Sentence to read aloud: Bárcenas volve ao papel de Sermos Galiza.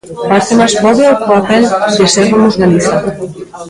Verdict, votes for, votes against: rejected, 0, 2